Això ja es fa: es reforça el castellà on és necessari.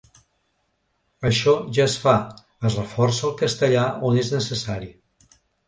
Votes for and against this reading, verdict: 4, 0, accepted